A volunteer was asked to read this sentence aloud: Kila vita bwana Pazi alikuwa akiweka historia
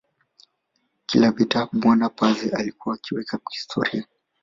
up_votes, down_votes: 2, 1